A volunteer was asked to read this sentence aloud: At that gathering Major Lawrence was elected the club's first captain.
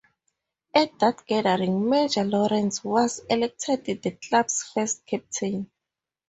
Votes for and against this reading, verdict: 2, 0, accepted